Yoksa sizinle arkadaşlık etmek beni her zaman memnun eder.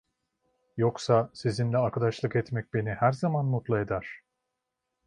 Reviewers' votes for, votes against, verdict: 1, 2, rejected